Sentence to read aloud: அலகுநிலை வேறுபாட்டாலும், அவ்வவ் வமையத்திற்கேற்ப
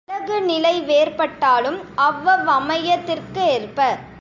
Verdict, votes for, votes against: accepted, 2, 0